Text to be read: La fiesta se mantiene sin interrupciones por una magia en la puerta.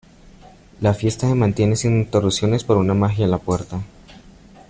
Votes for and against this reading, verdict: 0, 2, rejected